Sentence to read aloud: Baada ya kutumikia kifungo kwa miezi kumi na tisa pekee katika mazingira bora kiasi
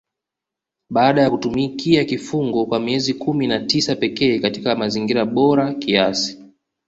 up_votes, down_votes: 2, 0